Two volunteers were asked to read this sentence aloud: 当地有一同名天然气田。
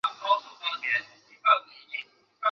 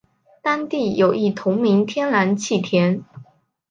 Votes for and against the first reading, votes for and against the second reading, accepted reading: 0, 2, 5, 0, second